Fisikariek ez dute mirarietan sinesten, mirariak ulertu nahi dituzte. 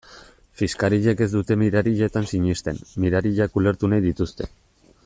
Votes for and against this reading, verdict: 0, 2, rejected